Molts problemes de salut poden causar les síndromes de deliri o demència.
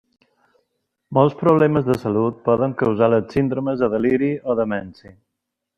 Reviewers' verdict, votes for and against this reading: accepted, 2, 0